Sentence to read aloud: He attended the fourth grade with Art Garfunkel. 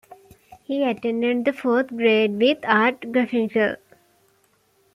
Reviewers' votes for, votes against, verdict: 1, 2, rejected